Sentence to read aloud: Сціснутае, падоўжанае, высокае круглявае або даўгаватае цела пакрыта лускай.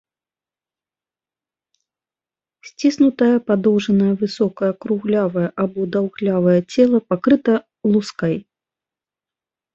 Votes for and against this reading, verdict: 0, 2, rejected